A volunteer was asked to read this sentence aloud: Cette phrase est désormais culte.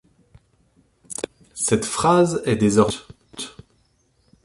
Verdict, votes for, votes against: rejected, 0, 3